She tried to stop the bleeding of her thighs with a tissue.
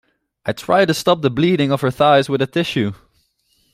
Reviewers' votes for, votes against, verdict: 1, 2, rejected